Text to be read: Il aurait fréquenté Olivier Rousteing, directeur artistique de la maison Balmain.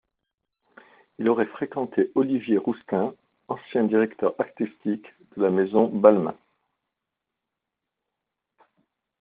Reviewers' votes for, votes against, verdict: 0, 2, rejected